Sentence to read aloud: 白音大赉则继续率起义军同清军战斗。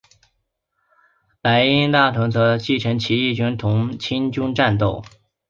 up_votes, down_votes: 1, 2